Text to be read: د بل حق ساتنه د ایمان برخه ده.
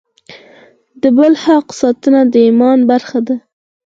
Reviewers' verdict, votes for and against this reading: accepted, 4, 2